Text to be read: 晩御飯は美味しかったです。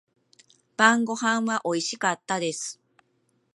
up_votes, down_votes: 0, 2